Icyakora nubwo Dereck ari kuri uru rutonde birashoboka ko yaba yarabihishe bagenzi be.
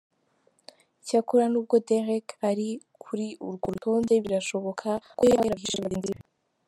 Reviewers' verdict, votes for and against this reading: rejected, 0, 2